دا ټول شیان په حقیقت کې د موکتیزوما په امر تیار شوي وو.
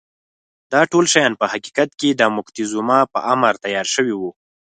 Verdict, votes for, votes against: accepted, 4, 0